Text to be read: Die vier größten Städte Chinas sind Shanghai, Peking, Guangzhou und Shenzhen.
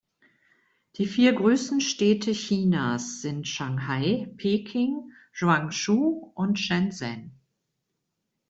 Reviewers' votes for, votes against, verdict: 2, 0, accepted